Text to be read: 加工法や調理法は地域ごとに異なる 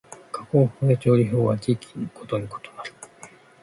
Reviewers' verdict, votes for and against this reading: rejected, 1, 2